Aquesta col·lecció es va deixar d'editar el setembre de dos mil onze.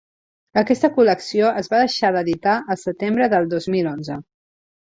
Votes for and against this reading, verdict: 0, 2, rejected